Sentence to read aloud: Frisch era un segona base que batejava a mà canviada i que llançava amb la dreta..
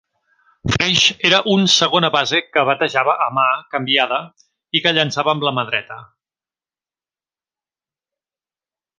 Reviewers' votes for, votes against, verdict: 1, 2, rejected